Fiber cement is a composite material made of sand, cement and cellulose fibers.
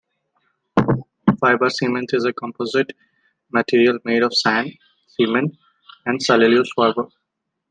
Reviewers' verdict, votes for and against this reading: accepted, 2, 0